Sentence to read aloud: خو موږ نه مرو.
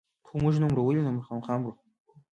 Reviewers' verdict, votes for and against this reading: rejected, 0, 2